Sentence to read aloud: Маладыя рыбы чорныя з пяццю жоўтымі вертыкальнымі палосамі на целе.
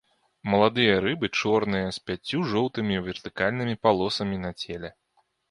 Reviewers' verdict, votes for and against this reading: accepted, 2, 0